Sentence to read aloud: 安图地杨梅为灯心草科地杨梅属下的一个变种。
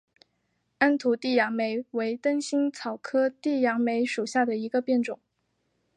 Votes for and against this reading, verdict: 2, 0, accepted